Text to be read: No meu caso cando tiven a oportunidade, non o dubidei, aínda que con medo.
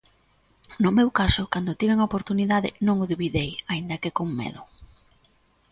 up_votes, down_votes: 2, 0